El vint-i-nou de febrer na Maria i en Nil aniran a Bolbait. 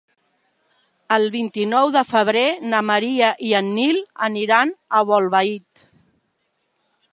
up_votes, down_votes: 1, 2